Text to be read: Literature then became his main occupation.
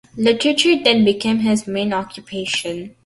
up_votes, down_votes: 2, 1